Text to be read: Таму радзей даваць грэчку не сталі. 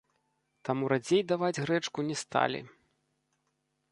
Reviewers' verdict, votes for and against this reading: rejected, 1, 2